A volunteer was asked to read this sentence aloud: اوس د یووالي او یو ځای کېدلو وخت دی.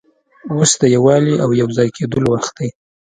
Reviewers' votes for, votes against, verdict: 2, 0, accepted